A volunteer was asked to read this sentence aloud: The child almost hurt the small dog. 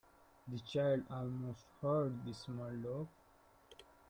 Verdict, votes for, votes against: rejected, 0, 2